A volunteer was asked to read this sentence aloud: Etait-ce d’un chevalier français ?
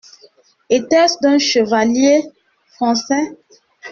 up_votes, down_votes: 2, 1